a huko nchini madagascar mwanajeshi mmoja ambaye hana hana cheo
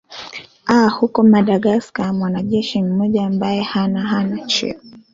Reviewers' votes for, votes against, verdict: 0, 2, rejected